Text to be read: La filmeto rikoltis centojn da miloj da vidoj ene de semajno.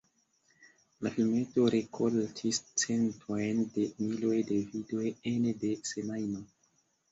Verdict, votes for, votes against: accepted, 2, 1